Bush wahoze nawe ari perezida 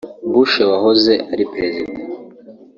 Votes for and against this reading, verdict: 0, 2, rejected